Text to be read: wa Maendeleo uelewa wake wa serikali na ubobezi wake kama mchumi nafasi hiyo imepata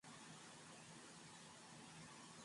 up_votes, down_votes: 0, 2